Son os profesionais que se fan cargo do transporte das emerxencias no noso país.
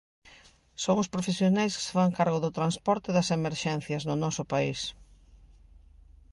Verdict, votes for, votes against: accepted, 2, 0